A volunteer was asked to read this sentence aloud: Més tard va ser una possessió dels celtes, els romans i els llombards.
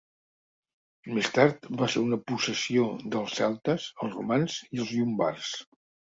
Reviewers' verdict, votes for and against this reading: accepted, 2, 0